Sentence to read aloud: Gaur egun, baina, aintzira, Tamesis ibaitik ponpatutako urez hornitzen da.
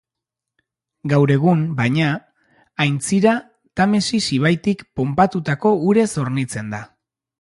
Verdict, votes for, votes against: accepted, 3, 0